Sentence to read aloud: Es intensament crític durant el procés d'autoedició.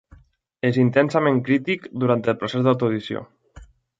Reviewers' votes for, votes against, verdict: 2, 0, accepted